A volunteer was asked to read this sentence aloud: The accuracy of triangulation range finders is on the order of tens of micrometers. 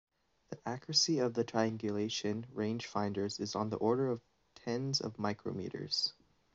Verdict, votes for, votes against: rejected, 1, 2